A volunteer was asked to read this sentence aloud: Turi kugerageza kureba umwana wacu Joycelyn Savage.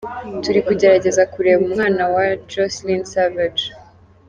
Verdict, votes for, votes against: accepted, 2, 0